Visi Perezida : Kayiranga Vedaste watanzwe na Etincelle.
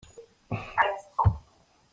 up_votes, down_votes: 0, 3